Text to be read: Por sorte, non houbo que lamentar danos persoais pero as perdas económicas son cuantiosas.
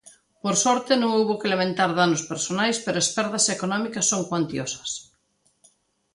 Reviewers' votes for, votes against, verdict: 1, 2, rejected